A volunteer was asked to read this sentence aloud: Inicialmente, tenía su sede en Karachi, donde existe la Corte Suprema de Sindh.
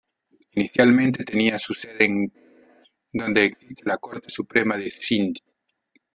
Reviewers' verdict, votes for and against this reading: rejected, 0, 2